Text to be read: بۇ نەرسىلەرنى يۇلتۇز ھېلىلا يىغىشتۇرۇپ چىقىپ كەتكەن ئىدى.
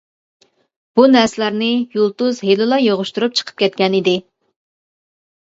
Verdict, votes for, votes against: accepted, 2, 1